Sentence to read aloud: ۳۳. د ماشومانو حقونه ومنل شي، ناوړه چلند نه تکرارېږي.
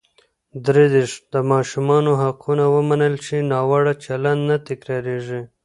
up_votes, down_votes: 0, 2